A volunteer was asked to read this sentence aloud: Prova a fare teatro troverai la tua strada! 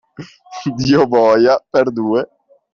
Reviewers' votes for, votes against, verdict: 0, 2, rejected